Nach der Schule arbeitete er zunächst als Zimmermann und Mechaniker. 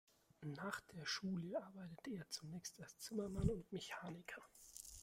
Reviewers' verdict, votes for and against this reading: rejected, 1, 2